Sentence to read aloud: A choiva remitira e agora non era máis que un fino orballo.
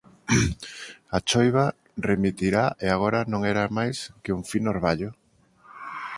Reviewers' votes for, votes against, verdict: 0, 2, rejected